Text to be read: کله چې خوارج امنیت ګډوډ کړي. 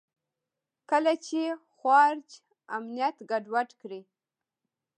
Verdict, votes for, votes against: rejected, 0, 2